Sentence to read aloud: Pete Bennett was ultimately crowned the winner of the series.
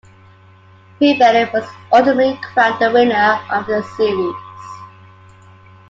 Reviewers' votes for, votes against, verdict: 2, 1, accepted